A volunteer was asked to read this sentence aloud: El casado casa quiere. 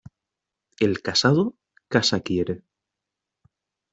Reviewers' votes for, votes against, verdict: 2, 0, accepted